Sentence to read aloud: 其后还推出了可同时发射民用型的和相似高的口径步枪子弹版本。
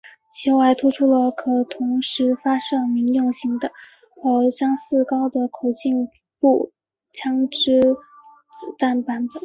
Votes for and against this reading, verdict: 2, 0, accepted